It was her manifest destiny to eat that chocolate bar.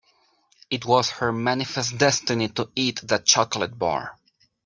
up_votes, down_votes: 3, 0